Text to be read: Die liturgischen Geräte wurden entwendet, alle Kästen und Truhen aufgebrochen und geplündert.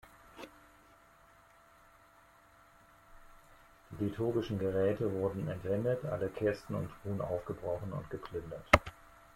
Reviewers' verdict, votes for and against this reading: rejected, 1, 2